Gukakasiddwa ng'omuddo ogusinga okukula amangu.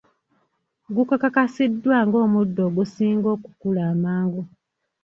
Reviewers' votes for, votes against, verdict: 1, 2, rejected